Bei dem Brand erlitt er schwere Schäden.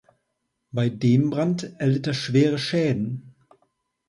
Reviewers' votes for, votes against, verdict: 2, 0, accepted